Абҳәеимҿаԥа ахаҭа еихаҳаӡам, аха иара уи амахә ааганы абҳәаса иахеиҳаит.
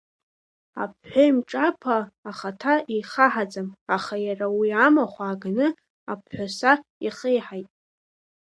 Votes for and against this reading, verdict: 2, 1, accepted